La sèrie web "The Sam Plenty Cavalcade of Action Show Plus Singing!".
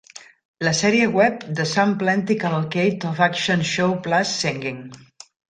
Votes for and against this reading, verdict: 2, 0, accepted